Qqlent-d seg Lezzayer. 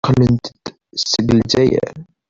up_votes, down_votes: 2, 1